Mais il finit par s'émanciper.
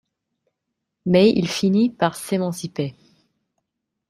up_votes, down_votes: 2, 0